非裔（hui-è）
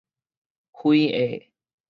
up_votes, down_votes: 4, 0